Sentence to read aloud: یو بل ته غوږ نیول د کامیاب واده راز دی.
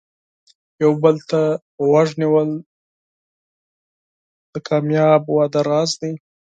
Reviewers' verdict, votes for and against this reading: rejected, 0, 4